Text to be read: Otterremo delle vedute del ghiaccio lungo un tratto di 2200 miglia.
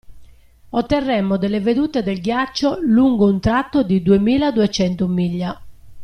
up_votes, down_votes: 0, 2